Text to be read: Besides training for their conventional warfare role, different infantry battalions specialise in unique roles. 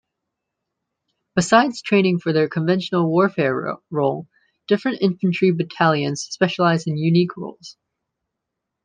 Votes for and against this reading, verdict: 0, 2, rejected